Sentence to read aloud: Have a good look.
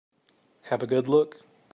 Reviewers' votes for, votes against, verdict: 2, 1, accepted